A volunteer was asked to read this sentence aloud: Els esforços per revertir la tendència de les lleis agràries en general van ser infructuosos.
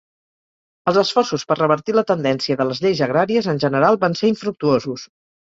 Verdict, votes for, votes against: accepted, 3, 0